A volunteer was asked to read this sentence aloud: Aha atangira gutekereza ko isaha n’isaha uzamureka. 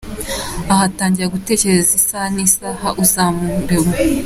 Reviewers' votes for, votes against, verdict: 1, 2, rejected